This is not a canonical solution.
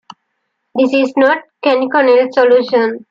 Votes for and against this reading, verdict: 2, 0, accepted